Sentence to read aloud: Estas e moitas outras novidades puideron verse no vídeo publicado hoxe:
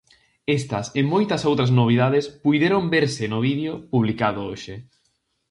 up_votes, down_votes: 4, 0